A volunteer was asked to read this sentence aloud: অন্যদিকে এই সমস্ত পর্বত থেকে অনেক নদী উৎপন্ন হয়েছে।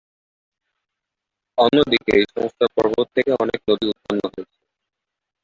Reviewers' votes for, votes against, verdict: 0, 2, rejected